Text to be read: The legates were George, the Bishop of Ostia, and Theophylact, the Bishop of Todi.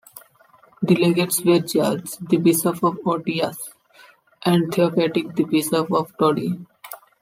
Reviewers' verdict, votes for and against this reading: rejected, 0, 2